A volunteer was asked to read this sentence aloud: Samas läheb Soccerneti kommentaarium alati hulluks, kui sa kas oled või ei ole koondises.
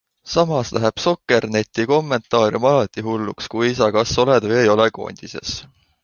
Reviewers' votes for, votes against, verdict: 3, 0, accepted